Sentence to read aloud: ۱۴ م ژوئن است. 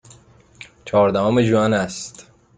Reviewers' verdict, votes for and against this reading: rejected, 0, 2